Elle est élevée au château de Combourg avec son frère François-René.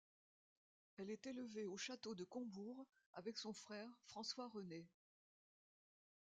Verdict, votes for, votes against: accepted, 2, 0